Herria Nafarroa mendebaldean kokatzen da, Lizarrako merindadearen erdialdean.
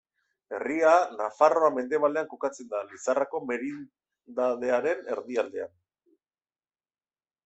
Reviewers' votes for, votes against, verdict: 1, 2, rejected